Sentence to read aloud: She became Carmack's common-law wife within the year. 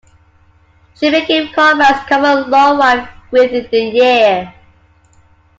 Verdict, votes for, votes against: rejected, 0, 2